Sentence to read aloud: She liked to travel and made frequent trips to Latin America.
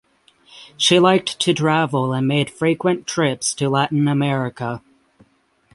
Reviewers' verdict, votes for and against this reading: accepted, 6, 0